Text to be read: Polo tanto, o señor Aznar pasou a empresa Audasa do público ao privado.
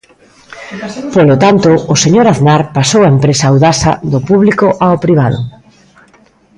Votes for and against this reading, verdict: 0, 2, rejected